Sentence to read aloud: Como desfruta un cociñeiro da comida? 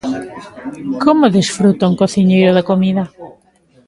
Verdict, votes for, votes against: accepted, 2, 0